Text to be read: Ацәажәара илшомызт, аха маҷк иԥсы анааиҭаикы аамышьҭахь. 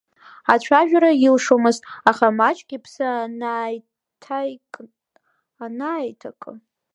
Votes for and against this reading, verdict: 0, 2, rejected